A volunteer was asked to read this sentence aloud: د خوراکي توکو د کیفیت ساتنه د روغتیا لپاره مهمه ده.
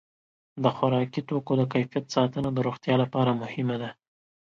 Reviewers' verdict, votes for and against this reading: accepted, 2, 0